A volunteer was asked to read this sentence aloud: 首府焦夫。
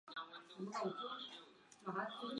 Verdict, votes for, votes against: rejected, 3, 4